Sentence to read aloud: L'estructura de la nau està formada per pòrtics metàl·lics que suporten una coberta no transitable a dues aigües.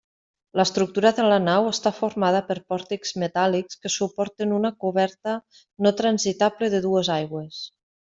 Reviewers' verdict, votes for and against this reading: rejected, 0, 2